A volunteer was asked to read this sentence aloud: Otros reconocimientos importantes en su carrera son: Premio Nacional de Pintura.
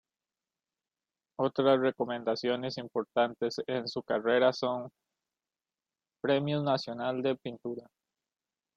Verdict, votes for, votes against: rejected, 1, 2